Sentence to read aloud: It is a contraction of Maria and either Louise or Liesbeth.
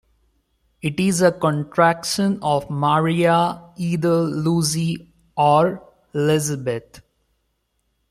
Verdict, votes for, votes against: rejected, 0, 2